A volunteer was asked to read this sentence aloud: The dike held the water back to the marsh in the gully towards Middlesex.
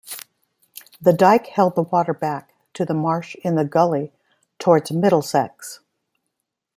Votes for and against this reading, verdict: 2, 0, accepted